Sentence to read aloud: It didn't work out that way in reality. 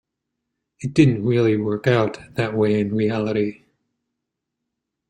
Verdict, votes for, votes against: rejected, 1, 2